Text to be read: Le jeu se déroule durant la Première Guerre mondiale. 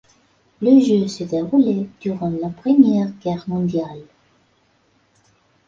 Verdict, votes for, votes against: rejected, 2, 3